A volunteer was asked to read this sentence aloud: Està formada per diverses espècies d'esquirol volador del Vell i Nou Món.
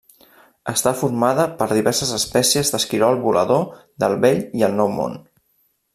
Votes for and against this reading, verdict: 1, 2, rejected